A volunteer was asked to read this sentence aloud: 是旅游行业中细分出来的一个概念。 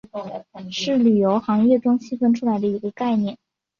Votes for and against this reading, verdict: 2, 0, accepted